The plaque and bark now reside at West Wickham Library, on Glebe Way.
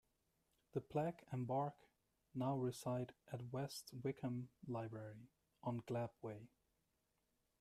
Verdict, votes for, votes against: rejected, 1, 2